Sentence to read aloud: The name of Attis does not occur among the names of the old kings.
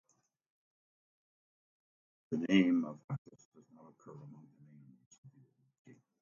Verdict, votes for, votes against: rejected, 0, 2